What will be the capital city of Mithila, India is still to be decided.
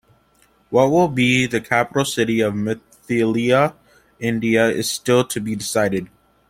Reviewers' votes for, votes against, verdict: 2, 0, accepted